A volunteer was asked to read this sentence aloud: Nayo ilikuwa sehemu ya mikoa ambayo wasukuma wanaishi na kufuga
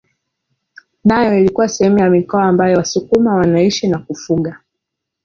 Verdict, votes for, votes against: accepted, 2, 0